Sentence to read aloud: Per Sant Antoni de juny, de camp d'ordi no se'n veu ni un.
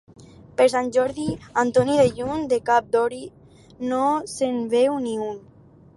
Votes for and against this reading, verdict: 0, 2, rejected